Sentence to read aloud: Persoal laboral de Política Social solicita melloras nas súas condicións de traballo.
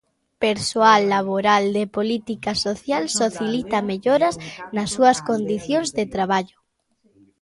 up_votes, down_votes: 1, 2